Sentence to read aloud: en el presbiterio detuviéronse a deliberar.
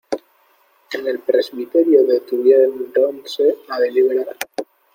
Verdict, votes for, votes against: rejected, 1, 2